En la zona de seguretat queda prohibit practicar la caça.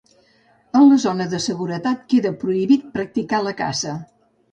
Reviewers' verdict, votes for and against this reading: rejected, 0, 2